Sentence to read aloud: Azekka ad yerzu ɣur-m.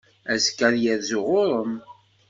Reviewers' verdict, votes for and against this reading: accepted, 2, 0